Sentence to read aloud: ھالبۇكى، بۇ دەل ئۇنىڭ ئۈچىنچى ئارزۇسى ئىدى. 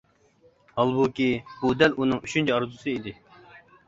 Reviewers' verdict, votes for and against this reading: accepted, 2, 0